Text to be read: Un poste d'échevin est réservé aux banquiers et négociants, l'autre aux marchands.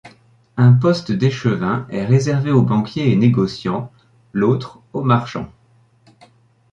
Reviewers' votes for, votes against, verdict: 2, 0, accepted